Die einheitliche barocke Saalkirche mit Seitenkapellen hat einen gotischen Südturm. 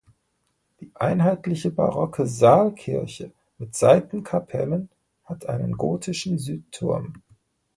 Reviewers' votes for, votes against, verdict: 2, 0, accepted